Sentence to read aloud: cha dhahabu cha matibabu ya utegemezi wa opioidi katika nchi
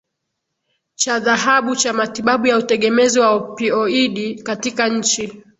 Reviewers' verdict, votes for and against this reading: accepted, 16, 0